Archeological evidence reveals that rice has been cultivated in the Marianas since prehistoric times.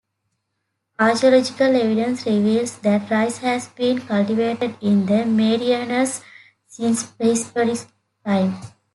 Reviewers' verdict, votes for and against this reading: rejected, 0, 2